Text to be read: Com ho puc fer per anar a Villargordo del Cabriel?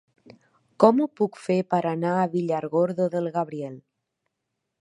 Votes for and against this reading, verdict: 0, 2, rejected